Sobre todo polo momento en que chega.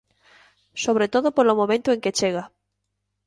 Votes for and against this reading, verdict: 2, 0, accepted